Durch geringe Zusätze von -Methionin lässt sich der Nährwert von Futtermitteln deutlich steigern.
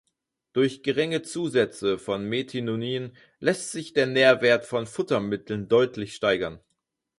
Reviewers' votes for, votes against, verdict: 0, 4, rejected